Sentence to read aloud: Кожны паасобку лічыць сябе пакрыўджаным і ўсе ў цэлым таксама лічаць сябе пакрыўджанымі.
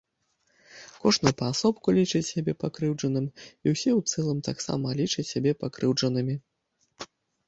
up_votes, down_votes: 2, 0